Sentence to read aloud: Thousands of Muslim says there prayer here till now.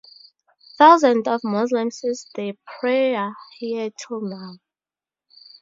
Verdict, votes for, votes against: rejected, 2, 2